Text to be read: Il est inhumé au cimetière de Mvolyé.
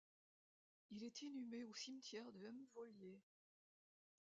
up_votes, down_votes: 1, 2